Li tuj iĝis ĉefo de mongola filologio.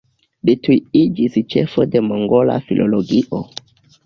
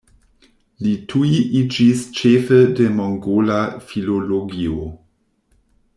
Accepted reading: first